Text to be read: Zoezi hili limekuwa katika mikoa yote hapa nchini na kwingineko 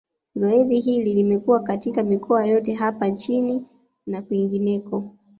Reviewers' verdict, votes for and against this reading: accepted, 2, 0